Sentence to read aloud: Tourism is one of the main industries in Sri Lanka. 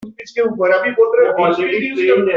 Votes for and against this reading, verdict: 0, 2, rejected